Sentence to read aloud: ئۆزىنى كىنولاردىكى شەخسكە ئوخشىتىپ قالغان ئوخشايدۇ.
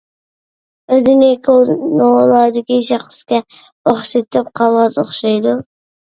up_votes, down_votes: 0, 2